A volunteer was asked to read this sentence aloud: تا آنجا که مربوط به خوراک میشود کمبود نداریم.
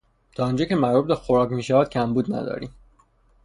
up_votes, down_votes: 3, 3